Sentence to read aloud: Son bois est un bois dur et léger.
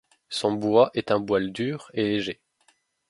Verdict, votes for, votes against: rejected, 1, 2